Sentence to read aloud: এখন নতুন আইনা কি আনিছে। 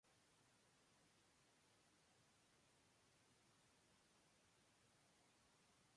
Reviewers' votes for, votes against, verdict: 0, 3, rejected